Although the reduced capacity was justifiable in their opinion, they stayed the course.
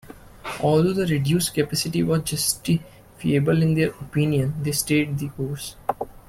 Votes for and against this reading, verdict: 0, 2, rejected